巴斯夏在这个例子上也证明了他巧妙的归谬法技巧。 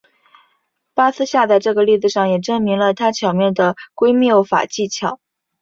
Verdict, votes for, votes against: accepted, 2, 1